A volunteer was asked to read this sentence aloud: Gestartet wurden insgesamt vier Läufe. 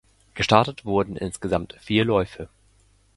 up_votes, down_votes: 2, 0